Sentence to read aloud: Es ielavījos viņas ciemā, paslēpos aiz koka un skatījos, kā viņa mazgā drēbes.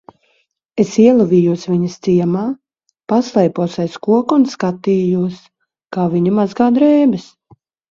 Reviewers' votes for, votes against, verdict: 2, 0, accepted